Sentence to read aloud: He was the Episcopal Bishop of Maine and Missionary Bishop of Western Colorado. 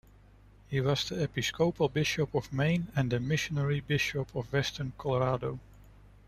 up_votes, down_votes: 0, 2